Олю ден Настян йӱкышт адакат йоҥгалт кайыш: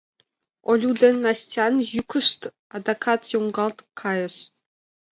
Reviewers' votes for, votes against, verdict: 2, 0, accepted